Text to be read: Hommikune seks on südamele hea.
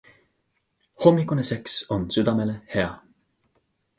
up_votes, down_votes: 3, 0